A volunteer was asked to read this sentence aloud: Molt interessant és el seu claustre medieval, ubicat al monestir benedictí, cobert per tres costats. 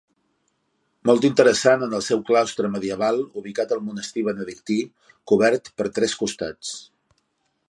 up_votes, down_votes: 0, 2